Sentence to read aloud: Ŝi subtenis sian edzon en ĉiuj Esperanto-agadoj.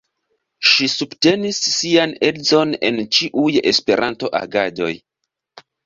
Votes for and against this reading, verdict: 2, 1, accepted